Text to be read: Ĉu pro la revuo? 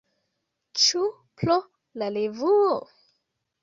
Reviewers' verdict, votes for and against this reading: rejected, 1, 2